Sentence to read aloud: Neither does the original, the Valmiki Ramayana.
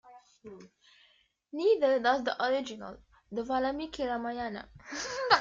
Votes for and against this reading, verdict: 2, 1, accepted